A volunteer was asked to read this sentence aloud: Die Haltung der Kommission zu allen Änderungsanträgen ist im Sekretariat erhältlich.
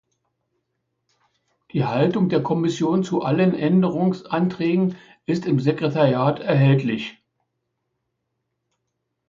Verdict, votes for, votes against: accepted, 2, 0